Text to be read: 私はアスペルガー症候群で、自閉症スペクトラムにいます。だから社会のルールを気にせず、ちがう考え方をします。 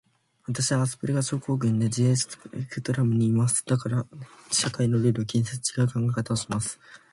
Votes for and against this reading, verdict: 2, 1, accepted